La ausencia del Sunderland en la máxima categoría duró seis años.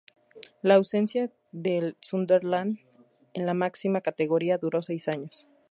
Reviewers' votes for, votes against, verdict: 4, 2, accepted